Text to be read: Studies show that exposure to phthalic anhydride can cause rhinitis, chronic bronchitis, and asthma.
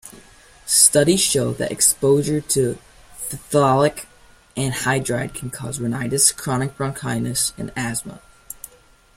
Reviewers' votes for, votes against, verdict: 0, 2, rejected